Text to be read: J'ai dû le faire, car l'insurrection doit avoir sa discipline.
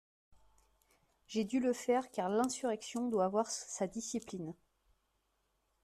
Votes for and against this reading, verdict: 0, 2, rejected